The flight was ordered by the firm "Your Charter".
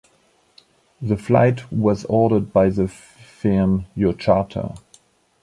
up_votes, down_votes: 2, 0